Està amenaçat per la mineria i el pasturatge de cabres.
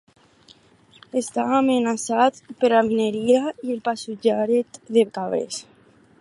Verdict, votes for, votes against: rejected, 2, 4